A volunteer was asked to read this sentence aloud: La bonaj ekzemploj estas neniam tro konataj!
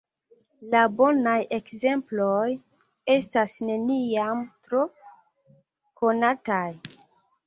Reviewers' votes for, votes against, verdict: 2, 1, accepted